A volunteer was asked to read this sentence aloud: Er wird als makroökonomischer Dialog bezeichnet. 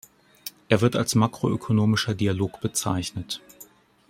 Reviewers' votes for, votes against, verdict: 2, 0, accepted